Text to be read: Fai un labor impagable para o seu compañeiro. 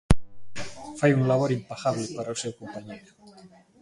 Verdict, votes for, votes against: accepted, 2, 0